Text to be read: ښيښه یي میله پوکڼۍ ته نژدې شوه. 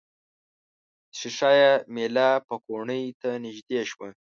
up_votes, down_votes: 1, 2